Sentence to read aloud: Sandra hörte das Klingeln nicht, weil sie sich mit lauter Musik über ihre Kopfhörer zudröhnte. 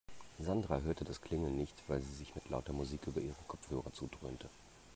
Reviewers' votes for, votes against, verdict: 2, 1, accepted